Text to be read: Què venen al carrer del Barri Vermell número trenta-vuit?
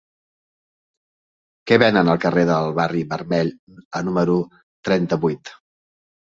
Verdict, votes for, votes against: rejected, 0, 2